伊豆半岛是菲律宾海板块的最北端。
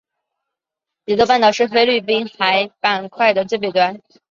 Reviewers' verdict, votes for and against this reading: accepted, 5, 0